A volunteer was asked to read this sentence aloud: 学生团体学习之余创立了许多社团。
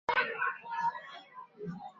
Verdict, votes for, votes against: rejected, 0, 3